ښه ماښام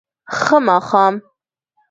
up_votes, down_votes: 2, 0